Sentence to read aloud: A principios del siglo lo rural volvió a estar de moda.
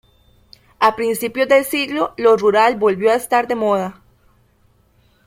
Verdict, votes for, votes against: rejected, 1, 2